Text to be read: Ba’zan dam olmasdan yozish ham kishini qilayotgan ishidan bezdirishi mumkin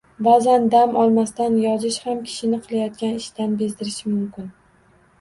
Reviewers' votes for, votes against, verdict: 2, 0, accepted